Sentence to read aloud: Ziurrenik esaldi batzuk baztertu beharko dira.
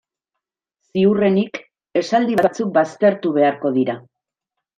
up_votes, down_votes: 2, 3